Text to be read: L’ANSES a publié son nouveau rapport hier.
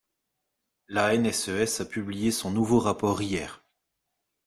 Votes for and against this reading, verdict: 2, 0, accepted